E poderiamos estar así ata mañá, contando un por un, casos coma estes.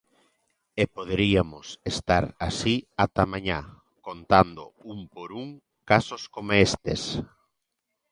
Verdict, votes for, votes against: rejected, 0, 2